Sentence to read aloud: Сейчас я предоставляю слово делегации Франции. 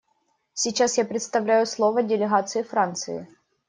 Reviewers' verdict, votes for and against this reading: rejected, 0, 2